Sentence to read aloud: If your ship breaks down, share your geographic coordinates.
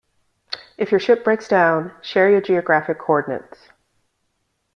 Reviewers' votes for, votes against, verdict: 2, 0, accepted